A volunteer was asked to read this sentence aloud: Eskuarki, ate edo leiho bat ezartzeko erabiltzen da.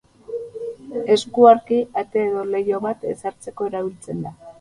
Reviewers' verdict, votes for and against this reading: rejected, 0, 4